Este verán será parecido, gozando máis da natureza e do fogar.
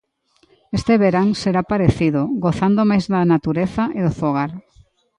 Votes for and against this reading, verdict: 2, 0, accepted